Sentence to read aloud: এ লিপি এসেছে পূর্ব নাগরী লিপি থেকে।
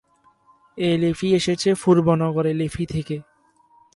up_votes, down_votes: 0, 4